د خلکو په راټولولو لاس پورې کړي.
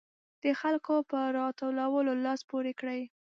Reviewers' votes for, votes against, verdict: 2, 0, accepted